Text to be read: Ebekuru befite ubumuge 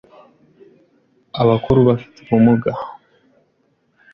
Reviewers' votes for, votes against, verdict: 1, 2, rejected